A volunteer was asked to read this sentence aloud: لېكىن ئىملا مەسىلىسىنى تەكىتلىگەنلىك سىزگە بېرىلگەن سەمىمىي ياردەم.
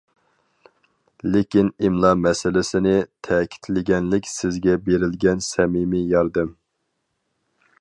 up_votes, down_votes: 4, 0